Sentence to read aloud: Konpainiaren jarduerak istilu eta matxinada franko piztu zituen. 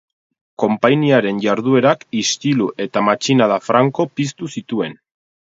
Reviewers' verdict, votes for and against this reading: accepted, 4, 0